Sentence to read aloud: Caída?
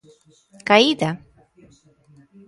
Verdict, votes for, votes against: accepted, 2, 0